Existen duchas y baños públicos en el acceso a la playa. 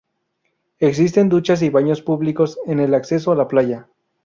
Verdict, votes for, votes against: accepted, 2, 0